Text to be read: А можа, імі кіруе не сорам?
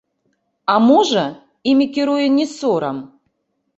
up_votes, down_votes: 0, 2